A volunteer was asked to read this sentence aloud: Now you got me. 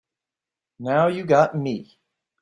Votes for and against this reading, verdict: 2, 0, accepted